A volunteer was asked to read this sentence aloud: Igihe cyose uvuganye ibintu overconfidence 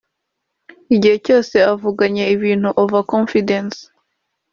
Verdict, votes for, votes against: rejected, 0, 2